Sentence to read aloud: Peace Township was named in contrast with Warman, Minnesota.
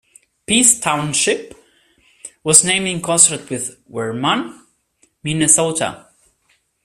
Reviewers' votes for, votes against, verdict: 0, 2, rejected